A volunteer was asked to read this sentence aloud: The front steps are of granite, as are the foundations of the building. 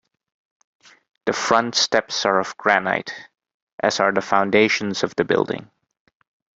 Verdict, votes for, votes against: accepted, 2, 0